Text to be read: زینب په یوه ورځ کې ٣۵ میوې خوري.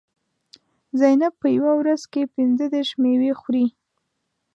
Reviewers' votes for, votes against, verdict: 0, 2, rejected